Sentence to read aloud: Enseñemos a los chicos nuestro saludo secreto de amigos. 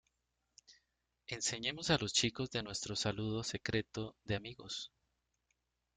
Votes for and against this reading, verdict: 0, 2, rejected